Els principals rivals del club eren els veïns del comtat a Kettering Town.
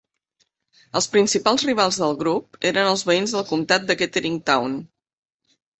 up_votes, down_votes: 1, 2